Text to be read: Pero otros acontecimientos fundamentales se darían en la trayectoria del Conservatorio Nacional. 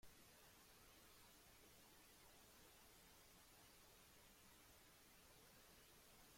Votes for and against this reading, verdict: 0, 2, rejected